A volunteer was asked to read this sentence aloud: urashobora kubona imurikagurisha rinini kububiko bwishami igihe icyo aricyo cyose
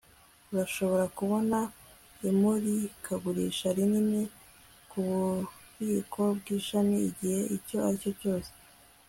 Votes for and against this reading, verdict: 1, 2, rejected